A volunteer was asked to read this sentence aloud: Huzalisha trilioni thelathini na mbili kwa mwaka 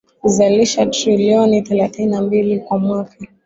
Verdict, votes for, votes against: accepted, 2, 0